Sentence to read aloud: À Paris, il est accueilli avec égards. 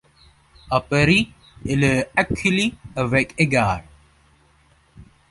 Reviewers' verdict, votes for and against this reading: rejected, 0, 2